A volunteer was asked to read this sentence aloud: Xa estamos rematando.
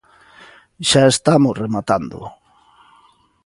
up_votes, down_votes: 2, 0